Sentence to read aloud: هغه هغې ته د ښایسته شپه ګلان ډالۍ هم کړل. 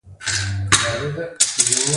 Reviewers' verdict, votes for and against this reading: rejected, 0, 2